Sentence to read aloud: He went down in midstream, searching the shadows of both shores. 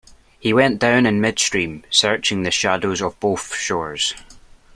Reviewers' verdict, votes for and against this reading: accepted, 2, 0